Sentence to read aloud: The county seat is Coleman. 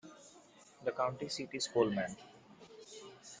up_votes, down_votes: 0, 2